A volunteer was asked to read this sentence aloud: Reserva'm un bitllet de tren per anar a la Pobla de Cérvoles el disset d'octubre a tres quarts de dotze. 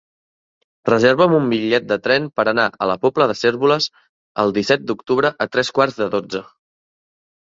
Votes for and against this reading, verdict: 2, 0, accepted